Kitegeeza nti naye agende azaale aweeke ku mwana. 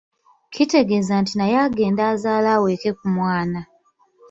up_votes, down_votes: 2, 0